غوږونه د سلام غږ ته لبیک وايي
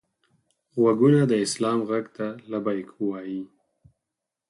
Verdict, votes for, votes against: accepted, 4, 0